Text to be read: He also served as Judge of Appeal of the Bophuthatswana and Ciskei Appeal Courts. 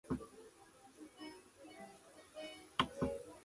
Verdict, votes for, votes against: rejected, 0, 2